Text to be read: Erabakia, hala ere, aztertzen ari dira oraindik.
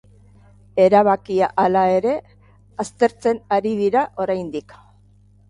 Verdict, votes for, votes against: accepted, 2, 0